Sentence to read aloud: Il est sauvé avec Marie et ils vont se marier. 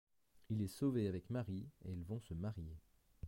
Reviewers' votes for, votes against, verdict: 1, 2, rejected